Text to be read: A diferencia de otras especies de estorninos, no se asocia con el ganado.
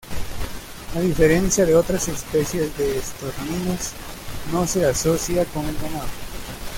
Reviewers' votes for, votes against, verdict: 0, 2, rejected